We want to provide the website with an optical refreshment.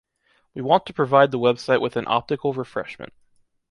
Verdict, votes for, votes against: accepted, 2, 0